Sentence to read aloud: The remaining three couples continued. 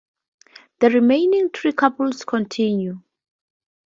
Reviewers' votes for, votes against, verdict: 2, 0, accepted